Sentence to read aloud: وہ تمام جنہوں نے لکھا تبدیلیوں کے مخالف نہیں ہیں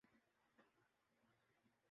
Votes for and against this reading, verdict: 1, 3, rejected